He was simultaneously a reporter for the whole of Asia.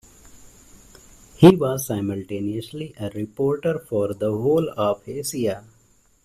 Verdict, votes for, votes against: accepted, 2, 1